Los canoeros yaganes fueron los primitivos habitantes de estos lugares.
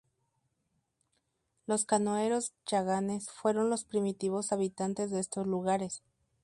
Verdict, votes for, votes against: rejected, 0, 2